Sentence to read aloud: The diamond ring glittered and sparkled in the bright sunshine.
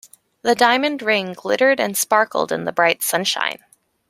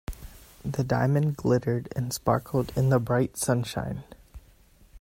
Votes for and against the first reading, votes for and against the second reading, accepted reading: 2, 0, 1, 2, first